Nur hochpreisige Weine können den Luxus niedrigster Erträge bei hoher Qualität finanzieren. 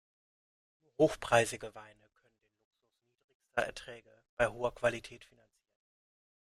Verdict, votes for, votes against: rejected, 0, 2